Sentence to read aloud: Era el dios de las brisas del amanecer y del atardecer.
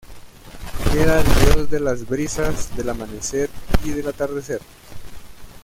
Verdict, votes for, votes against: rejected, 0, 2